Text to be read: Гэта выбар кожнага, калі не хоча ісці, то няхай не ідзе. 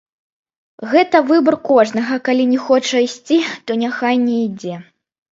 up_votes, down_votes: 1, 3